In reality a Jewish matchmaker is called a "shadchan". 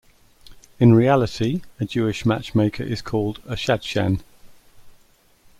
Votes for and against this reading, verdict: 2, 0, accepted